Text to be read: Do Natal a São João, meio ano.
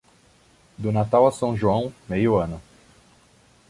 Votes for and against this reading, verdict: 2, 0, accepted